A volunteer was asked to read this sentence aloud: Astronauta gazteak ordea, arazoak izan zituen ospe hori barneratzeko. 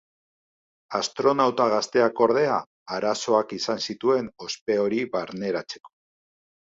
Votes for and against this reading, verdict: 2, 0, accepted